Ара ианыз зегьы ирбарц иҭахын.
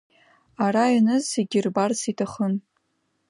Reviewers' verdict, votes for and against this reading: accepted, 2, 0